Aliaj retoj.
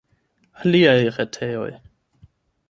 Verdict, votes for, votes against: rejected, 0, 8